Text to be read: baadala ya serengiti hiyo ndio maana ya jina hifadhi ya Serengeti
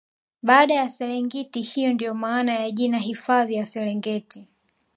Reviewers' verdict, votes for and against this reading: accepted, 3, 0